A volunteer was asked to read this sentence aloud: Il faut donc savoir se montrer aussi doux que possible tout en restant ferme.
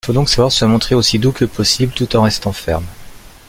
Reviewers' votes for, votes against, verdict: 2, 1, accepted